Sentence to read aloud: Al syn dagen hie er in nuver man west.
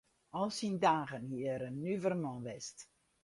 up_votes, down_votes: 0, 2